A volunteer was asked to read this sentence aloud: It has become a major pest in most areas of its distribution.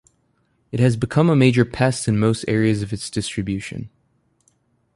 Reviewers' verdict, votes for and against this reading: accepted, 2, 0